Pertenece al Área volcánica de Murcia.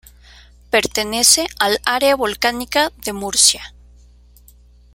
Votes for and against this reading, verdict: 2, 0, accepted